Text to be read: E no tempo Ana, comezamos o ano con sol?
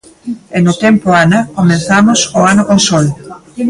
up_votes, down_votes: 2, 0